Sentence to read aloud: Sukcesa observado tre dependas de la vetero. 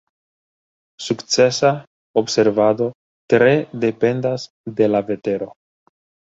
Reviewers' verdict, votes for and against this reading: accepted, 2, 0